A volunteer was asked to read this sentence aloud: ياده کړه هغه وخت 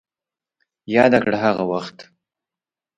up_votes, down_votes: 2, 1